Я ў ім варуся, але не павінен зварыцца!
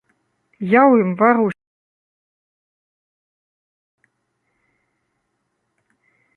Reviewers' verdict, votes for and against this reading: rejected, 0, 2